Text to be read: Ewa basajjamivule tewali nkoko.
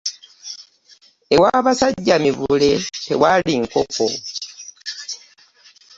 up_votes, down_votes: 0, 3